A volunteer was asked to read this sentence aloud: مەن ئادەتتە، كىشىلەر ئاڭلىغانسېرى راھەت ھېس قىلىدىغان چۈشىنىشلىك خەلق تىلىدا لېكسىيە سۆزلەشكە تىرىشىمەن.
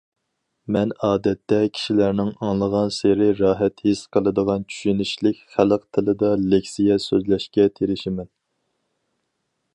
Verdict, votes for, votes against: rejected, 0, 4